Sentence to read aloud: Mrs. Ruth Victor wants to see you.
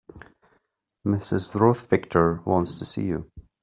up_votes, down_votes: 2, 0